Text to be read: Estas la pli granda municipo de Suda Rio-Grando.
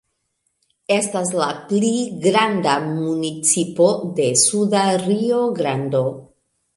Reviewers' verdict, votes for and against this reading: rejected, 1, 2